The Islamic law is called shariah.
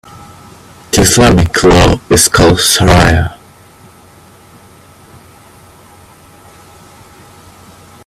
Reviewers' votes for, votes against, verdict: 2, 0, accepted